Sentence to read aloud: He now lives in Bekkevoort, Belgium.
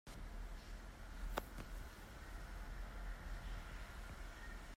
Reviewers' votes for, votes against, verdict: 1, 2, rejected